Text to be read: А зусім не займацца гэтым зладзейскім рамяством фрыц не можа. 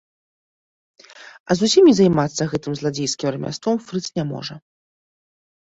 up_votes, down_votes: 2, 1